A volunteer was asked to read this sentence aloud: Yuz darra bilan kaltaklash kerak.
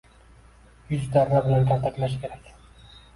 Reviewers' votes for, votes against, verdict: 2, 1, accepted